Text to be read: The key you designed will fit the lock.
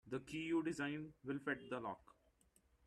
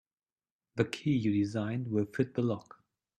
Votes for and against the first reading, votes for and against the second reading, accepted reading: 1, 2, 2, 0, second